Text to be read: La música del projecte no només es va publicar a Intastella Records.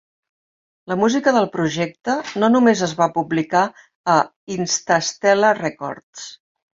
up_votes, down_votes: 1, 2